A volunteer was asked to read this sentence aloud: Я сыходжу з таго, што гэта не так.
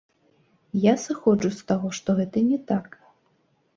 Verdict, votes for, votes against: rejected, 0, 2